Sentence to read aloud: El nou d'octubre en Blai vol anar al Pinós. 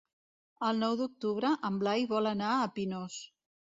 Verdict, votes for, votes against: rejected, 1, 2